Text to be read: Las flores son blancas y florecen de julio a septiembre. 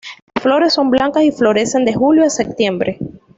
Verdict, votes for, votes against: rejected, 0, 2